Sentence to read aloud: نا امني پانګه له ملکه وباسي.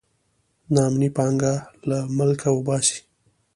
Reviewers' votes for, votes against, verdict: 2, 0, accepted